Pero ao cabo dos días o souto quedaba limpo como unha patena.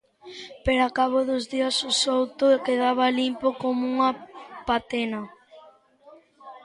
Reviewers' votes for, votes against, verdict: 2, 0, accepted